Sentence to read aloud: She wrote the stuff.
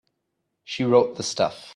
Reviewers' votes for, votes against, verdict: 2, 0, accepted